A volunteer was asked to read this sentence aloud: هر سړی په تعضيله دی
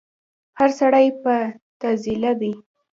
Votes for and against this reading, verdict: 2, 0, accepted